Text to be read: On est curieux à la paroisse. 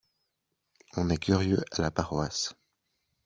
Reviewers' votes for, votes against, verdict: 2, 1, accepted